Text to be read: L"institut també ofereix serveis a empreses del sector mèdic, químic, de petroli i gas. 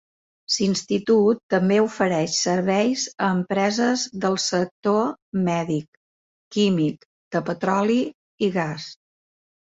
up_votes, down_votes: 1, 2